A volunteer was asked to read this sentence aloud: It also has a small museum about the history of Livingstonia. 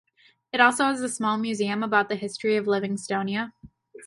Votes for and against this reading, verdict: 2, 0, accepted